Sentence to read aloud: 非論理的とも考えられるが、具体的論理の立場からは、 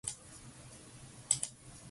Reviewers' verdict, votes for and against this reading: rejected, 1, 2